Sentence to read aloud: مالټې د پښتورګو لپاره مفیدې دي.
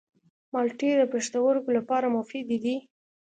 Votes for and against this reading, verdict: 2, 0, accepted